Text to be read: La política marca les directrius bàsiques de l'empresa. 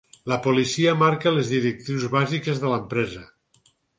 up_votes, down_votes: 2, 4